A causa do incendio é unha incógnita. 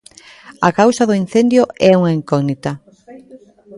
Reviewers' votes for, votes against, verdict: 0, 2, rejected